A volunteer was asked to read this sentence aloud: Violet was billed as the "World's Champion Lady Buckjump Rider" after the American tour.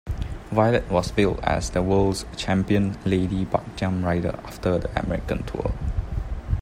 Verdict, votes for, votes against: rejected, 0, 2